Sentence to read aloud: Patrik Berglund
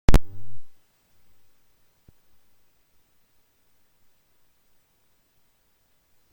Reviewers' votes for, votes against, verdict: 0, 2, rejected